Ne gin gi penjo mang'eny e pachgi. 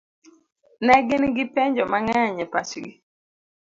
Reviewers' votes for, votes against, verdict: 2, 0, accepted